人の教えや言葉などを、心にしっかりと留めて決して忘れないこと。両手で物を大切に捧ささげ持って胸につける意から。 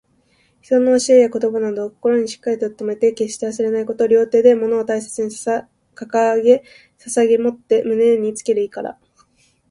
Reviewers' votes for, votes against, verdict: 1, 2, rejected